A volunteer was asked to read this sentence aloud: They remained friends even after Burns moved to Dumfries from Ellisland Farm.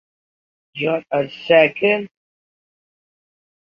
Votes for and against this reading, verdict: 0, 3, rejected